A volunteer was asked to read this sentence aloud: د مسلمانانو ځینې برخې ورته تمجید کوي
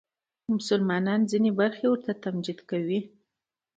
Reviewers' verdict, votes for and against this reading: rejected, 1, 2